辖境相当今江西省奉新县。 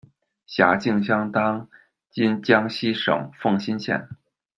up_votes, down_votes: 2, 0